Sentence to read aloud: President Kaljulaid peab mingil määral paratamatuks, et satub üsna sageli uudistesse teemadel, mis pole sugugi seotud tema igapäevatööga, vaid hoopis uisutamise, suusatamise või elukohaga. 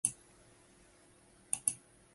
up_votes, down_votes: 0, 2